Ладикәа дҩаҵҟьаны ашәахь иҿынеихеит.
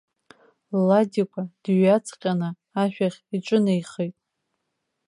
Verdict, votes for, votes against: accepted, 2, 0